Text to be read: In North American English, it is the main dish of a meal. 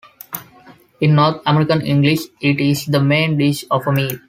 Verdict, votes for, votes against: accepted, 2, 0